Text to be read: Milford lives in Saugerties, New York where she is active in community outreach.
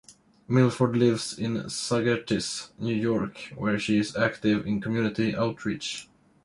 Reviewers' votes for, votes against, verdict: 1, 2, rejected